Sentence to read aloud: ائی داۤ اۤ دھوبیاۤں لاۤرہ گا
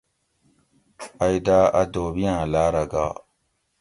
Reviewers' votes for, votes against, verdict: 2, 0, accepted